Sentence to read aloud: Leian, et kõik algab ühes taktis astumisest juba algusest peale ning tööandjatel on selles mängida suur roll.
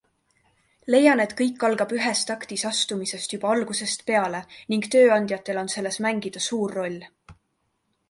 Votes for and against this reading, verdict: 3, 0, accepted